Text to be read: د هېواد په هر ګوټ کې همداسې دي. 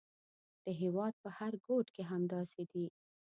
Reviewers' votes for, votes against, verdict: 1, 2, rejected